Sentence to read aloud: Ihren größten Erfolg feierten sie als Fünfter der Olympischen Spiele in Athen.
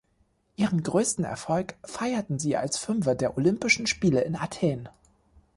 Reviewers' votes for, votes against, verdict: 0, 2, rejected